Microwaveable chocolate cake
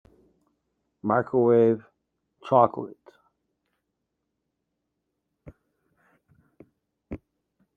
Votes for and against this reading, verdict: 0, 2, rejected